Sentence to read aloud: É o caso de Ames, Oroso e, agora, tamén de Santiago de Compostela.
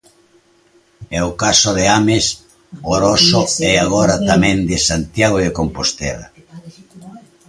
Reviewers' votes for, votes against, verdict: 0, 2, rejected